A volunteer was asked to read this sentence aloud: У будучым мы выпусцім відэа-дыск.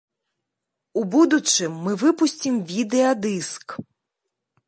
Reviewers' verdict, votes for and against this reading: accepted, 2, 0